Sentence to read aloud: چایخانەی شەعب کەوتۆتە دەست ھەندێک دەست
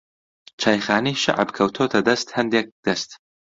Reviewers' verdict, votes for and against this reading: accepted, 2, 0